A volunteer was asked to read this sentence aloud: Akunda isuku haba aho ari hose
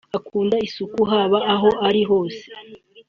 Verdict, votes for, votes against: accepted, 2, 0